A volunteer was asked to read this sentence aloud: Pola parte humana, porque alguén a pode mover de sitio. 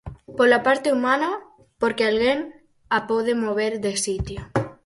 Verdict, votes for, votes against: accepted, 4, 0